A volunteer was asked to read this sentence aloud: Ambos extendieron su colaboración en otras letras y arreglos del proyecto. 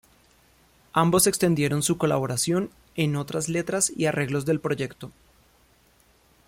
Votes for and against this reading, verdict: 2, 0, accepted